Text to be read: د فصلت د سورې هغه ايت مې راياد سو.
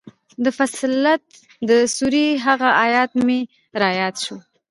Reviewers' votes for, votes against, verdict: 2, 1, accepted